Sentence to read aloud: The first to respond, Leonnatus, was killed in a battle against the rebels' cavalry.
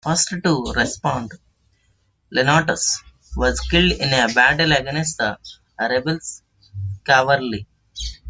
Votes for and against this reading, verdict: 2, 1, accepted